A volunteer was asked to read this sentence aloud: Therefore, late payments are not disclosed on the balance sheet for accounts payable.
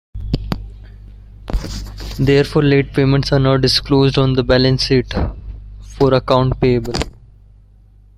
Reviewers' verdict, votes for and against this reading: rejected, 0, 2